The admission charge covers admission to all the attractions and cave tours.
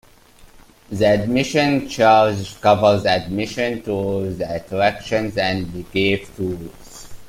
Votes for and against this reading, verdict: 1, 2, rejected